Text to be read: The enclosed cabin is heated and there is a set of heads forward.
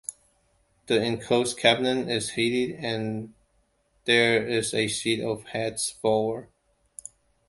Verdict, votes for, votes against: rejected, 1, 2